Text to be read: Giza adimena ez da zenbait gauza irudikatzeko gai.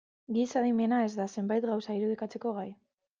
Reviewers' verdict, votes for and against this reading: accepted, 2, 0